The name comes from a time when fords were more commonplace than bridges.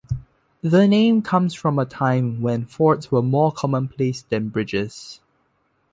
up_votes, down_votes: 2, 0